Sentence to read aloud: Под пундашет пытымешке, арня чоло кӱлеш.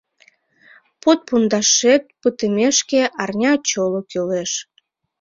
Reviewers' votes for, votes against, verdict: 2, 1, accepted